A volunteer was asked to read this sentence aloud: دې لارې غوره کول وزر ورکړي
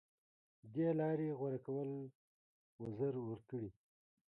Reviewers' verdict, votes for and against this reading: accepted, 2, 0